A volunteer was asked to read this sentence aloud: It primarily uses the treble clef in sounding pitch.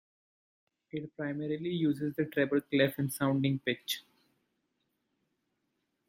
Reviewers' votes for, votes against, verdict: 1, 2, rejected